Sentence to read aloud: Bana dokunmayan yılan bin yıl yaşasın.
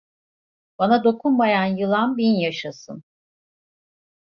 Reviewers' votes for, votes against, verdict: 1, 2, rejected